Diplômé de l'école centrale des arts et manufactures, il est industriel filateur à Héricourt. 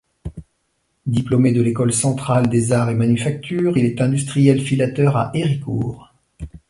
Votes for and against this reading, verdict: 2, 0, accepted